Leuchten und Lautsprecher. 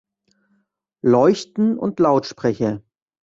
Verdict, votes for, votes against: accepted, 2, 0